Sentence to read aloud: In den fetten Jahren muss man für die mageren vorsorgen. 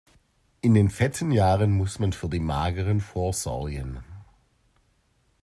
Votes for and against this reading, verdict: 2, 0, accepted